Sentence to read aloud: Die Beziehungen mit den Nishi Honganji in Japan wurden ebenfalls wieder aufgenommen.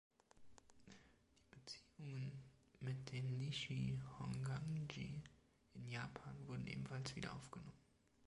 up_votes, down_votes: 2, 3